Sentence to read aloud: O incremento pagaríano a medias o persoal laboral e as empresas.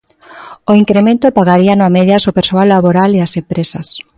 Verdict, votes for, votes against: accepted, 2, 0